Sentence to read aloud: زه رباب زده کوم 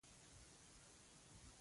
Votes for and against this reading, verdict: 0, 2, rejected